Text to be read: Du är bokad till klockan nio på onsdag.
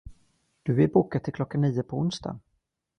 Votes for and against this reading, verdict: 1, 2, rejected